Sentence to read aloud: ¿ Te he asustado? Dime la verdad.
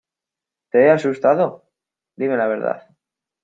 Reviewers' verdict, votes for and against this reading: accepted, 2, 0